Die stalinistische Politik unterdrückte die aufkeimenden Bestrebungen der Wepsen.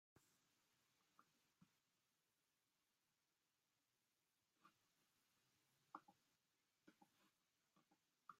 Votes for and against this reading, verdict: 0, 2, rejected